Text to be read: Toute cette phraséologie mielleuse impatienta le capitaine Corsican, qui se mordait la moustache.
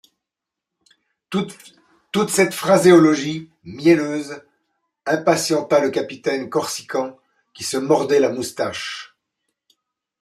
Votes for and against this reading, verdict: 1, 2, rejected